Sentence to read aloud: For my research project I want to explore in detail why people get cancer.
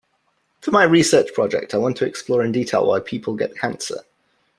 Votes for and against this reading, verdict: 1, 2, rejected